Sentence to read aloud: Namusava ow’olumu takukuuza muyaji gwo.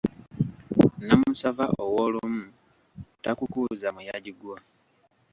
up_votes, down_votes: 2, 0